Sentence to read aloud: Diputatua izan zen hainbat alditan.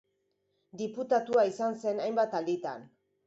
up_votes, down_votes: 3, 0